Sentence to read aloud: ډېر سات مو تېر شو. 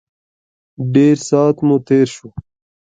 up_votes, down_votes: 2, 0